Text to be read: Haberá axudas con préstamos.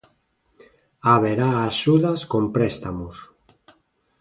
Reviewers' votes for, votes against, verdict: 2, 0, accepted